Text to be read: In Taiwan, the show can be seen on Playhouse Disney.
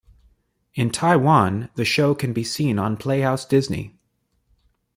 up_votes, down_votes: 2, 0